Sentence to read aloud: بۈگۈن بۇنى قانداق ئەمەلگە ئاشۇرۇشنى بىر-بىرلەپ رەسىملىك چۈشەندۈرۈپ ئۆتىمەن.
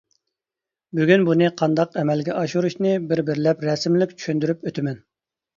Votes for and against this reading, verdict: 2, 0, accepted